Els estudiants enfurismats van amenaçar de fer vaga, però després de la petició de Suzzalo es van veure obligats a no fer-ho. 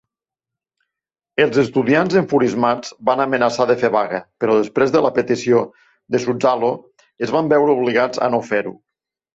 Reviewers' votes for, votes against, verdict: 2, 0, accepted